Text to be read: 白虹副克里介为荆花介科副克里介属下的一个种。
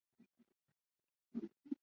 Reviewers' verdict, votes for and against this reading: rejected, 1, 2